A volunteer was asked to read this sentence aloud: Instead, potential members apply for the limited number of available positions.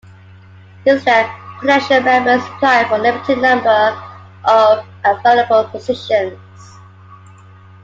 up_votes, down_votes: 2, 0